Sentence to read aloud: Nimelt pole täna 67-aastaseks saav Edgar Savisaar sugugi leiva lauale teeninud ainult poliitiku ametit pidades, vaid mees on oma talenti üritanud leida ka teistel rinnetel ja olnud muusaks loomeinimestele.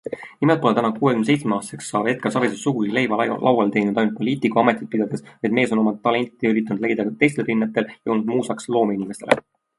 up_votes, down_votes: 0, 2